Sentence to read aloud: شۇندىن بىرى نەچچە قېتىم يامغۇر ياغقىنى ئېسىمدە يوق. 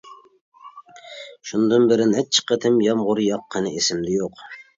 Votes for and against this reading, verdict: 2, 0, accepted